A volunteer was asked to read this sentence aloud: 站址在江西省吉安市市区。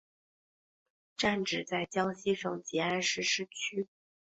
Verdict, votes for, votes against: accepted, 2, 0